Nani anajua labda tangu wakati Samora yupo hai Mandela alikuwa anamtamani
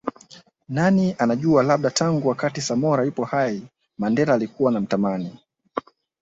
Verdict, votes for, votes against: accepted, 2, 1